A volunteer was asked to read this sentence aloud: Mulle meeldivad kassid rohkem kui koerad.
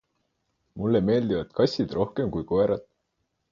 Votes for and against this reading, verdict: 4, 0, accepted